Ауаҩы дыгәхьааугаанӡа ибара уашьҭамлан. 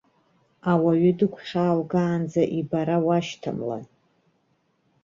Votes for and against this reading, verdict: 2, 1, accepted